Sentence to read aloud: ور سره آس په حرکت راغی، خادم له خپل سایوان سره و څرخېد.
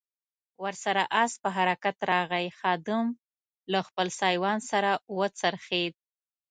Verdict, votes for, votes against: accepted, 2, 0